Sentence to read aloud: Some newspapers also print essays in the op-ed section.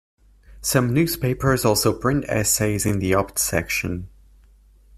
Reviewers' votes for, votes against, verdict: 0, 2, rejected